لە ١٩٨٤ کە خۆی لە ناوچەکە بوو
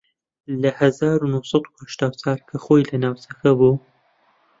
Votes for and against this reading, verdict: 0, 2, rejected